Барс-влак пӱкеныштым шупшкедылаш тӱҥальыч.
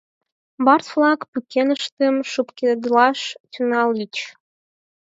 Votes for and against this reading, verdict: 0, 4, rejected